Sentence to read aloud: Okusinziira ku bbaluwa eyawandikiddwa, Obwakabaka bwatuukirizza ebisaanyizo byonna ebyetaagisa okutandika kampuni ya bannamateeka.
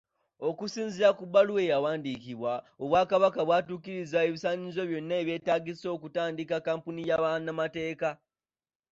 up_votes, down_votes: 2, 0